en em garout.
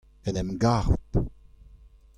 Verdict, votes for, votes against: accepted, 2, 0